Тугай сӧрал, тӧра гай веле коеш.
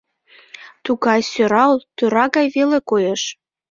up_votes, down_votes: 4, 0